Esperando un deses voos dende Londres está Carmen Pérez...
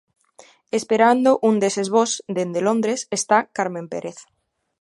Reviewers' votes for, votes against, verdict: 2, 0, accepted